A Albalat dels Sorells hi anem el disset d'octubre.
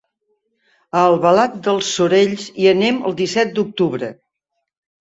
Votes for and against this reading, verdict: 3, 0, accepted